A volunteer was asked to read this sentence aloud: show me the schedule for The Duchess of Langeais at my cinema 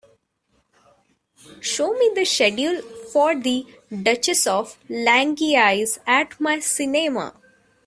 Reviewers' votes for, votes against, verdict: 4, 2, accepted